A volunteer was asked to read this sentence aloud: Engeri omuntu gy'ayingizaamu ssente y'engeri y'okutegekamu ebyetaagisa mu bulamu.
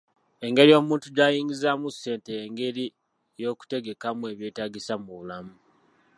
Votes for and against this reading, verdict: 2, 1, accepted